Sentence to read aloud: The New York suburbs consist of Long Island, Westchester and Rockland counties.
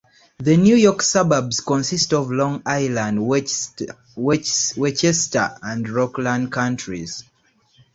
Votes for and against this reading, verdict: 0, 2, rejected